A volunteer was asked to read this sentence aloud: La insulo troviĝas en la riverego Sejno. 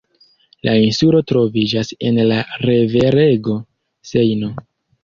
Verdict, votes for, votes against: rejected, 1, 2